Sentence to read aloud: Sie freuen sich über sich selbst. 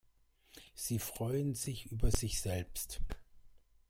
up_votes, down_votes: 2, 0